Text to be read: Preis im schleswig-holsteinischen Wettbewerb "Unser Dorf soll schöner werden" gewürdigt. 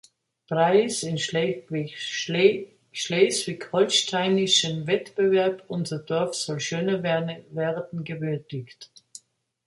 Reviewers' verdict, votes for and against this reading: rejected, 1, 4